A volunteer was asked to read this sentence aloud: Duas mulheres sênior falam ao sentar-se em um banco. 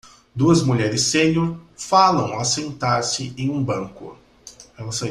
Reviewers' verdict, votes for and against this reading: rejected, 0, 2